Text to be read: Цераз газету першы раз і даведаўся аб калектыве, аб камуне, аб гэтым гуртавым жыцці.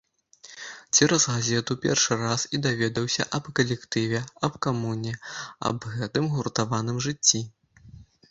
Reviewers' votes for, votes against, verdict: 0, 2, rejected